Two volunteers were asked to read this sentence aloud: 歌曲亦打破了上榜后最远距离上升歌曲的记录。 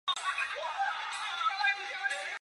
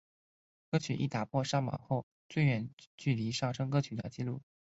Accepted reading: second